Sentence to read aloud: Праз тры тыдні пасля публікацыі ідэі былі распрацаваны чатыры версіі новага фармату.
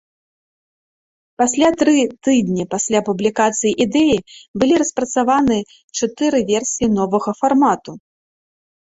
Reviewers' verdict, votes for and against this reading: rejected, 2, 3